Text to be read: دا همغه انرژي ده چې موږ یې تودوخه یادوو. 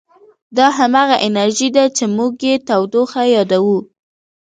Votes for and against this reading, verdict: 2, 1, accepted